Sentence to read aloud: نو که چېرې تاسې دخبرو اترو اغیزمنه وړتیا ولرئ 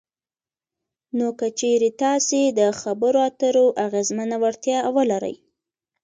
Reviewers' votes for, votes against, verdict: 2, 1, accepted